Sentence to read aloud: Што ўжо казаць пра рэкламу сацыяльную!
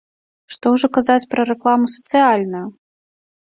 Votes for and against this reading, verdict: 1, 2, rejected